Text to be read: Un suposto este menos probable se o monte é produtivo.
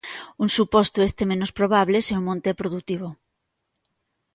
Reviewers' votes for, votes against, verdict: 2, 0, accepted